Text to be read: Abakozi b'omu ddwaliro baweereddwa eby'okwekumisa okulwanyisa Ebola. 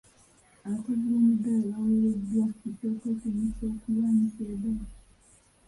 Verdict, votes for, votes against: rejected, 0, 2